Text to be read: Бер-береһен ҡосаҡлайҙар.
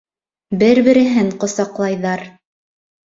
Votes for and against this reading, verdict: 2, 0, accepted